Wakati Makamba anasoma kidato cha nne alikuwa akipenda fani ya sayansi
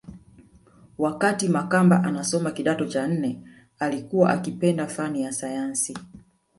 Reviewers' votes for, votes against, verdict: 1, 2, rejected